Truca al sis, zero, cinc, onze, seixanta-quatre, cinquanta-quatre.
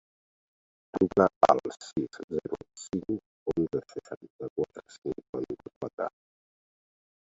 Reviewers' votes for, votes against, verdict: 2, 0, accepted